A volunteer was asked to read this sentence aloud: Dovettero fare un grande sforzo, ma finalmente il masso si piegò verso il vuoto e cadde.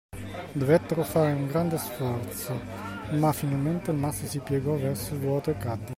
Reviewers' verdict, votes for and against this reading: accepted, 2, 0